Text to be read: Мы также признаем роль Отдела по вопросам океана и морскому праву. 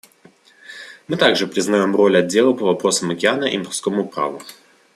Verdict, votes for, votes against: accepted, 2, 0